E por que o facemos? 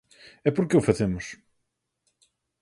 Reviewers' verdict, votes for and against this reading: accepted, 4, 0